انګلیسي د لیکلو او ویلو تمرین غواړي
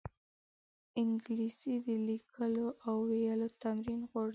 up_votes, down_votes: 2, 0